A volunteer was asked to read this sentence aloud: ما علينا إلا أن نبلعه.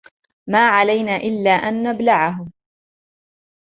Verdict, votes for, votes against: accepted, 2, 0